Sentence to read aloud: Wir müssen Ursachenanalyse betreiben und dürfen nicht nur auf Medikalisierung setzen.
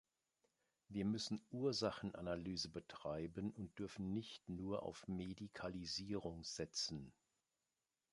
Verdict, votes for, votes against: accepted, 2, 0